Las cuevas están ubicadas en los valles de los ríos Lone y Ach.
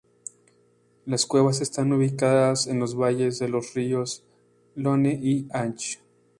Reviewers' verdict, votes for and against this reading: rejected, 0, 2